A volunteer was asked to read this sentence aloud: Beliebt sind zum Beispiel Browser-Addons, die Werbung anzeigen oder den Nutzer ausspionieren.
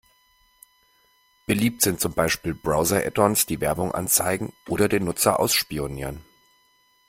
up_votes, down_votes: 2, 0